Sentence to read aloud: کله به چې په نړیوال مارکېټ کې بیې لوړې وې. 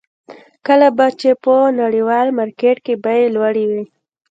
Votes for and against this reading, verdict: 2, 0, accepted